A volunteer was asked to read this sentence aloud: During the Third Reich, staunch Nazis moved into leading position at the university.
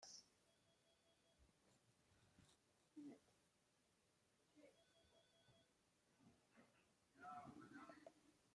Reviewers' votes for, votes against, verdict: 0, 2, rejected